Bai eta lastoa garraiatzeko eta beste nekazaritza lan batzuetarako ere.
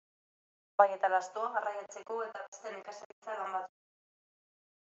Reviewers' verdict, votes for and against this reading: rejected, 0, 2